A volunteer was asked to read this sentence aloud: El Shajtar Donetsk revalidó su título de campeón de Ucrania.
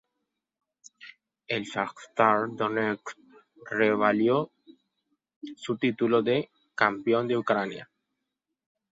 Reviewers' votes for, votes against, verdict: 0, 2, rejected